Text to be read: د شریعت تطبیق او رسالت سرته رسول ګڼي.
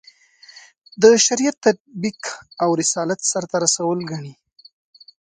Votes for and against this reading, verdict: 3, 0, accepted